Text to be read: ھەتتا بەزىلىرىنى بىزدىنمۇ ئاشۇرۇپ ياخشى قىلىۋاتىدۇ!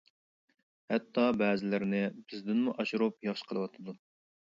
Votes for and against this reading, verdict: 2, 0, accepted